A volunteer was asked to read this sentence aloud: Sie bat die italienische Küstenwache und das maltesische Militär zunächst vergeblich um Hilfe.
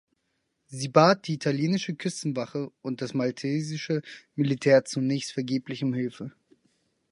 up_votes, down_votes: 4, 0